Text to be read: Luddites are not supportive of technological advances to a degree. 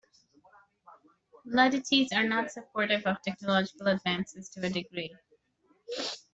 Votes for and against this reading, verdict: 0, 2, rejected